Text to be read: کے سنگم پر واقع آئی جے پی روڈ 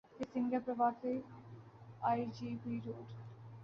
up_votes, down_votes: 0, 3